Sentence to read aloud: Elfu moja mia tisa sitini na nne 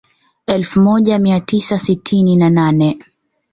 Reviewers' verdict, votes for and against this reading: rejected, 1, 2